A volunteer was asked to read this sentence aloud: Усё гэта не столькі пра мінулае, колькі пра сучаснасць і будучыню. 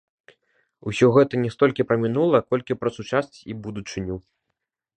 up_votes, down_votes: 0, 2